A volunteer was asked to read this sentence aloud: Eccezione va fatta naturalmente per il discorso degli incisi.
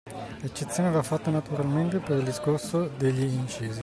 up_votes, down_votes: 2, 1